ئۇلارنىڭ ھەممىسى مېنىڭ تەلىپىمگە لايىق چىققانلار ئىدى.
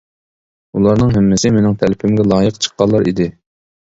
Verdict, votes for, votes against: accepted, 2, 0